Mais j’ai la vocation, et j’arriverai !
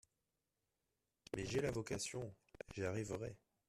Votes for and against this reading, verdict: 0, 2, rejected